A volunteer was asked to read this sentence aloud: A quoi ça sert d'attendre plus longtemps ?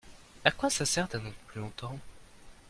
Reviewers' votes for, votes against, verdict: 0, 2, rejected